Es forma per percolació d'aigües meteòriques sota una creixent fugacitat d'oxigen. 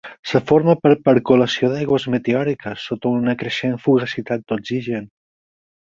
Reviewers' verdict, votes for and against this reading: rejected, 2, 4